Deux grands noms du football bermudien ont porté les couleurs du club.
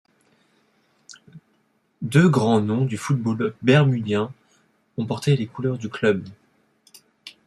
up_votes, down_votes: 2, 1